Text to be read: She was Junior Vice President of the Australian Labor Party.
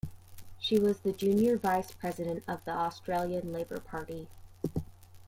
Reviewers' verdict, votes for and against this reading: rejected, 0, 2